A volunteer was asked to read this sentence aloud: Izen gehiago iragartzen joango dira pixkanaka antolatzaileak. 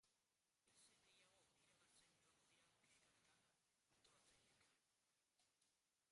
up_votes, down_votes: 0, 3